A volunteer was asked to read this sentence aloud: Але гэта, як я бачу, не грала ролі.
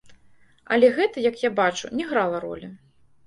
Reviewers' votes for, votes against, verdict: 1, 2, rejected